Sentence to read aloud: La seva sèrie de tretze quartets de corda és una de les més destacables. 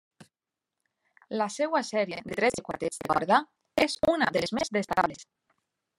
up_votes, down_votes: 0, 2